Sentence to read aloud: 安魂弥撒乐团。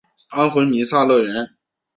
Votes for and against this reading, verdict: 2, 1, accepted